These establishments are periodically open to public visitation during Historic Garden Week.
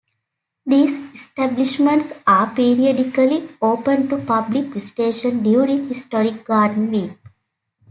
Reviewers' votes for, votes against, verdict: 2, 0, accepted